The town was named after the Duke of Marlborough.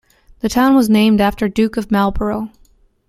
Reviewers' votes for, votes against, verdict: 0, 2, rejected